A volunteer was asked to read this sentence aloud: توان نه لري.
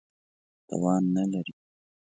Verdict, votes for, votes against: accepted, 2, 0